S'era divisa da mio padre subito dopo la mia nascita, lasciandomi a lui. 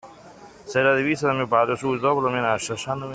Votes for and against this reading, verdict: 0, 2, rejected